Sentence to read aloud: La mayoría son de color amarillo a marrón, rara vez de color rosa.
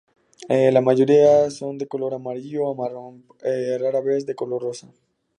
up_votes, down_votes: 2, 0